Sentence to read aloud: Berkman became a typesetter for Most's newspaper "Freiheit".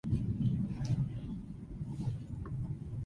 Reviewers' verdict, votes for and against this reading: rejected, 0, 2